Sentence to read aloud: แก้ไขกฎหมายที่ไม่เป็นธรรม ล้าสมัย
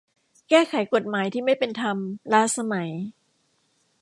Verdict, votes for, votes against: accepted, 2, 0